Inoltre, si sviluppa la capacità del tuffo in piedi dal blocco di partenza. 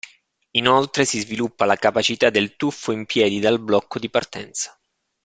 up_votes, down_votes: 2, 0